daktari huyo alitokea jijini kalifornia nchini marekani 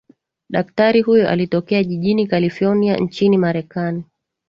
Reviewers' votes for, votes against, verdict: 7, 1, accepted